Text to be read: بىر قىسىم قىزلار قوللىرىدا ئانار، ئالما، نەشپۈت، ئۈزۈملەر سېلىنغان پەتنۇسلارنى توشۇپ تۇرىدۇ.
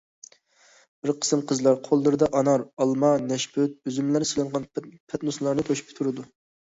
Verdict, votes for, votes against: rejected, 1, 2